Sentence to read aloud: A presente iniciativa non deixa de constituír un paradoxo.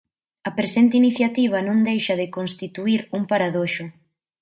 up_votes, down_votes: 1, 2